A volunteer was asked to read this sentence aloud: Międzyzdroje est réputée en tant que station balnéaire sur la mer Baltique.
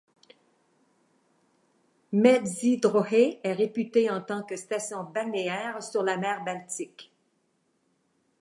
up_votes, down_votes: 2, 0